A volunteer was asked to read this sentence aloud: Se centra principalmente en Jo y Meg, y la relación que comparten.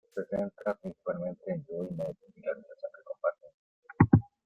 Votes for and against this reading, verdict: 1, 2, rejected